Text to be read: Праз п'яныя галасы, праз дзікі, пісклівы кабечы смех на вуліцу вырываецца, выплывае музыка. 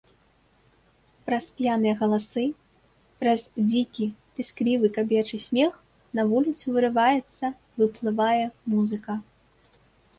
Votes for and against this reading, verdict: 2, 0, accepted